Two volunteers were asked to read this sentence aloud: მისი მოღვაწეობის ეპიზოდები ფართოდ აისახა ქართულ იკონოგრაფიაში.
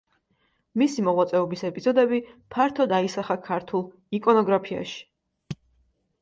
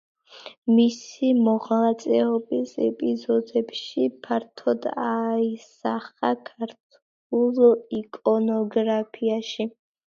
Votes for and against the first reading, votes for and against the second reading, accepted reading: 2, 0, 0, 2, first